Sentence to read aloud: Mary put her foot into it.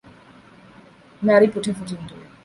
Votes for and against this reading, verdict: 2, 0, accepted